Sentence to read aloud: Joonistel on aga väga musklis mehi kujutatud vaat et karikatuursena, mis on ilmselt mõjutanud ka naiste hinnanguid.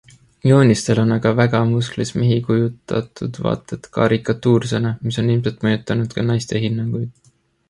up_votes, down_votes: 2, 1